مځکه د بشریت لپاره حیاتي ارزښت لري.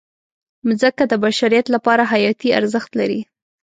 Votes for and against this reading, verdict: 2, 0, accepted